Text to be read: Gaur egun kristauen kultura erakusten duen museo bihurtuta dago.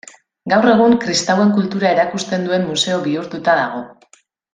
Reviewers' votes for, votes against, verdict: 2, 0, accepted